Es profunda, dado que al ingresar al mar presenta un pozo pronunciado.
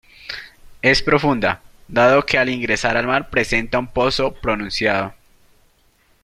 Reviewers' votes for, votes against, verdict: 2, 0, accepted